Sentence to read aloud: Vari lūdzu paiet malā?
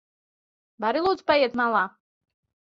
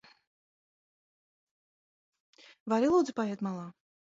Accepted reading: first